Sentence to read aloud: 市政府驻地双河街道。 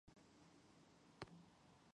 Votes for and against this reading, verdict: 0, 3, rejected